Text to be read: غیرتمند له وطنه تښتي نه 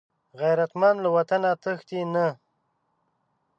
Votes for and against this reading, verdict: 2, 0, accepted